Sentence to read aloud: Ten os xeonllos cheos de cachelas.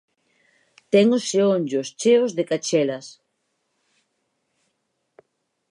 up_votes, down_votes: 2, 0